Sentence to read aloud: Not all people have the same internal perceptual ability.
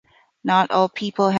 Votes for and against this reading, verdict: 0, 2, rejected